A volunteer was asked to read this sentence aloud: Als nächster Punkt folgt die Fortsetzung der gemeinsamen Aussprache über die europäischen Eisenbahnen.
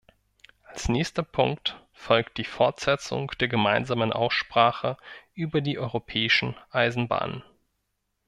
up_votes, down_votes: 2, 0